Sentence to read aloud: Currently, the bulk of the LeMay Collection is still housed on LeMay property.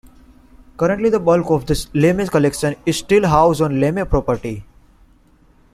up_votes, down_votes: 2, 1